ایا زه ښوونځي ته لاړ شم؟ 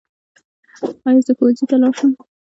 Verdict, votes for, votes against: accepted, 2, 1